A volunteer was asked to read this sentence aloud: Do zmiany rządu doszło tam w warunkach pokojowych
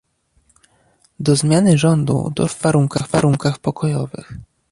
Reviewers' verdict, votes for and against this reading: rejected, 0, 2